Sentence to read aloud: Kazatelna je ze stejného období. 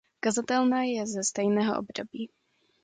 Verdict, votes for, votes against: accepted, 2, 0